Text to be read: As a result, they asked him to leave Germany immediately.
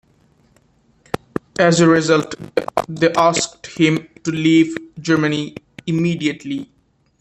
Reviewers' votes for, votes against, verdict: 2, 1, accepted